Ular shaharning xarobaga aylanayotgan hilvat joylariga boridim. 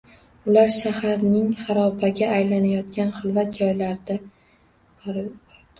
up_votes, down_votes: 0, 2